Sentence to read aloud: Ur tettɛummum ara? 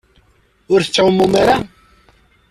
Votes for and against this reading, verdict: 0, 2, rejected